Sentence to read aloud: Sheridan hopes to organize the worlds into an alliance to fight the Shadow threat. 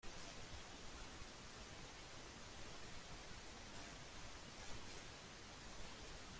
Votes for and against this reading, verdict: 1, 2, rejected